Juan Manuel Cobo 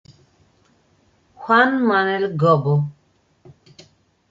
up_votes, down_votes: 1, 2